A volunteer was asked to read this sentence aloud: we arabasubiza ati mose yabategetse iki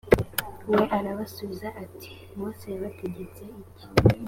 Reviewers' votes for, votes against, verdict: 2, 0, accepted